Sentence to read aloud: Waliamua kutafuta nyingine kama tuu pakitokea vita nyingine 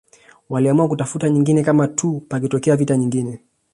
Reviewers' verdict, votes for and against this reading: accepted, 2, 1